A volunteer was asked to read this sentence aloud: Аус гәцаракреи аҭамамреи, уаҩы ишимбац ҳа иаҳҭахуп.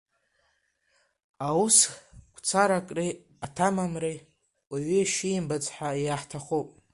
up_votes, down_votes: 2, 1